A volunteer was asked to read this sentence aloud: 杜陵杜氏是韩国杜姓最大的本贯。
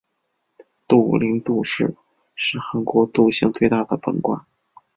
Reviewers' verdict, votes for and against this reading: accepted, 3, 0